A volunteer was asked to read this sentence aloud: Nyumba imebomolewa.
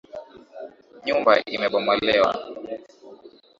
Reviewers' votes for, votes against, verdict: 3, 1, accepted